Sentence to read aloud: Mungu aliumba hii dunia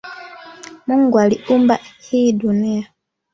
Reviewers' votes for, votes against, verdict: 2, 1, accepted